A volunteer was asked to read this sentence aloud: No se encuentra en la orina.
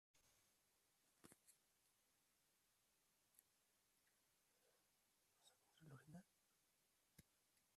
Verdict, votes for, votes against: rejected, 0, 2